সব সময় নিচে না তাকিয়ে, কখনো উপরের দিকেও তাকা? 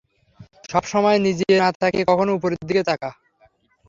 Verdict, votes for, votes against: rejected, 0, 3